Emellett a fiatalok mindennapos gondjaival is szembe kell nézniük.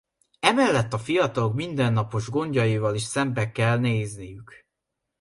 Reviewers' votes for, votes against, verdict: 2, 1, accepted